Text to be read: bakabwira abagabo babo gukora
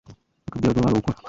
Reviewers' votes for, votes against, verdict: 1, 2, rejected